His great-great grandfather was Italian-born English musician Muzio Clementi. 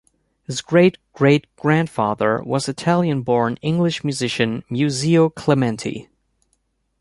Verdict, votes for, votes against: accepted, 3, 0